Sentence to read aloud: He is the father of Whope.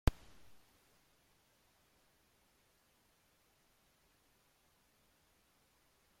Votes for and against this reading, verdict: 0, 2, rejected